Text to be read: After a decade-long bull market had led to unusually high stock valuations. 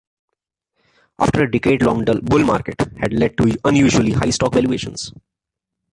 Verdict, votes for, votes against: rejected, 0, 2